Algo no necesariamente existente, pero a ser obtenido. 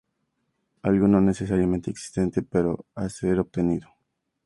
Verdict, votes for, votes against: accepted, 4, 0